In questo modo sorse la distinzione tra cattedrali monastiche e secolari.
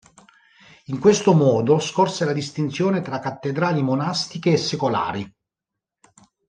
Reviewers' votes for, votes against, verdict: 1, 2, rejected